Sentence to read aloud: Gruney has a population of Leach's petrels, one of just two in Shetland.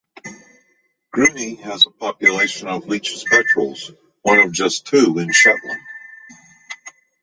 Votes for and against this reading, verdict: 1, 2, rejected